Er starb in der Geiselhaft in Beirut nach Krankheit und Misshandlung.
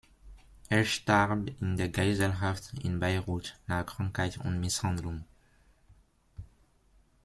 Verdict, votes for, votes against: accepted, 2, 0